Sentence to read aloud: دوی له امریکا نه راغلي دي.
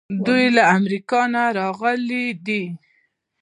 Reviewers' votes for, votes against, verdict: 1, 2, rejected